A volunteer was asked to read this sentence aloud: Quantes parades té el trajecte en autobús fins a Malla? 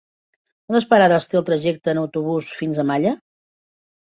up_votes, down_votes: 1, 2